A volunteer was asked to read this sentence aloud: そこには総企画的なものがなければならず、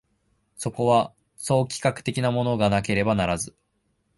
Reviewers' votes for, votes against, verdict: 2, 0, accepted